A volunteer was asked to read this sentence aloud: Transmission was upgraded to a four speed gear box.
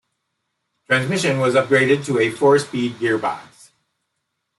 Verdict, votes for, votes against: accepted, 2, 0